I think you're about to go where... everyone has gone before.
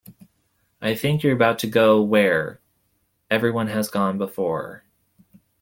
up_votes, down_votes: 2, 0